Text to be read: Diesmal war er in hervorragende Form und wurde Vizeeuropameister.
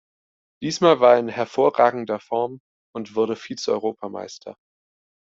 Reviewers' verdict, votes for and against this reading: rejected, 0, 2